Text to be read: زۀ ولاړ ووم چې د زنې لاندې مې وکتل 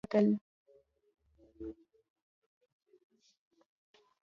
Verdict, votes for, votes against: rejected, 0, 2